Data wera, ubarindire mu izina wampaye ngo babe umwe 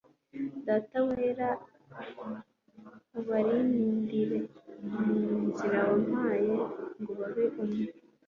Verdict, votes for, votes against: accepted, 2, 0